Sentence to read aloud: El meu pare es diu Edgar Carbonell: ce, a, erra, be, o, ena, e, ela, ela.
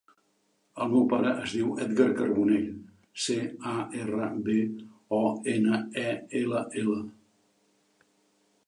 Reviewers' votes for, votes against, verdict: 3, 1, accepted